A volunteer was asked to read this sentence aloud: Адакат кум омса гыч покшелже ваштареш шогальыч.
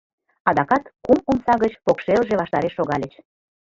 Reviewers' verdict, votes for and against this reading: rejected, 1, 2